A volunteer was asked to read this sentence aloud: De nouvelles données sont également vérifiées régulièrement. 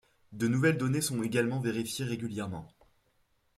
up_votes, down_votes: 0, 2